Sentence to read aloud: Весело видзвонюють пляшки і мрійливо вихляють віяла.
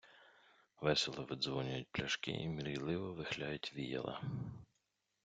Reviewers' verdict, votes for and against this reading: accepted, 2, 0